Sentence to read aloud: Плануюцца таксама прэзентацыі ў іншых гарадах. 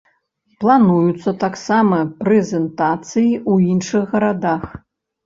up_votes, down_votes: 2, 0